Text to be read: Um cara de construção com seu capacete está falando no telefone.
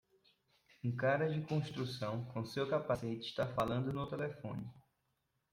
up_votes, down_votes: 2, 0